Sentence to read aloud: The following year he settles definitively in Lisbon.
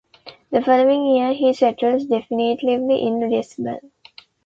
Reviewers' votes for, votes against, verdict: 2, 0, accepted